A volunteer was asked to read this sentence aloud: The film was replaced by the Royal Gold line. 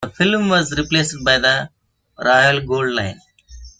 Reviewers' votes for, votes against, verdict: 0, 2, rejected